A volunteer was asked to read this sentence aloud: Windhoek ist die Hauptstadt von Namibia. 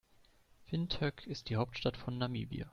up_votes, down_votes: 2, 0